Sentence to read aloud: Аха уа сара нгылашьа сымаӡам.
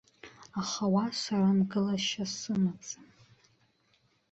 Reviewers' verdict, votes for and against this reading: rejected, 0, 2